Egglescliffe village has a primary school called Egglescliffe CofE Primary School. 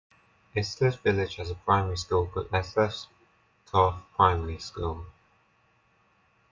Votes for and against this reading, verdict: 1, 2, rejected